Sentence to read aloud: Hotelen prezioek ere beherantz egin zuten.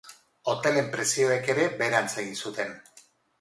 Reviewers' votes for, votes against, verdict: 4, 0, accepted